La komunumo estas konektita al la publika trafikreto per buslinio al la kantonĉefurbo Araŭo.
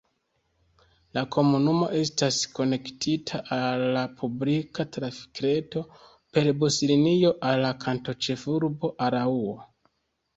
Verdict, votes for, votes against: accepted, 2, 0